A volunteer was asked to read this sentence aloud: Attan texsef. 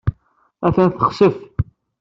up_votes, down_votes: 1, 2